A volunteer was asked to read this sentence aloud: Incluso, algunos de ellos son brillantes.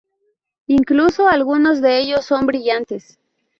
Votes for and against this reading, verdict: 2, 0, accepted